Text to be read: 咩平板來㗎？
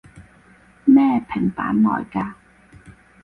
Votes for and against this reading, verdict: 4, 0, accepted